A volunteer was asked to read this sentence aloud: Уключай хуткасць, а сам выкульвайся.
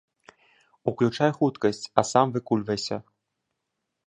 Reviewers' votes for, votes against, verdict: 3, 0, accepted